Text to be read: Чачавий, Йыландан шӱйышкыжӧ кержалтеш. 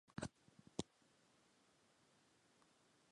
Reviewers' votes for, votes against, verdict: 1, 2, rejected